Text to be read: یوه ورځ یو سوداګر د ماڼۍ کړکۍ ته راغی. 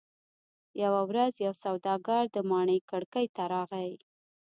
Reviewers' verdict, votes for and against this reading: rejected, 0, 2